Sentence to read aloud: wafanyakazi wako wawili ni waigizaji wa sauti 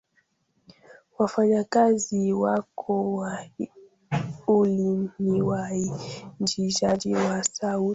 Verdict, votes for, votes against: rejected, 1, 2